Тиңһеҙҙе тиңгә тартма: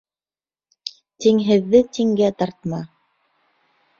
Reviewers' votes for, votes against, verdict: 2, 0, accepted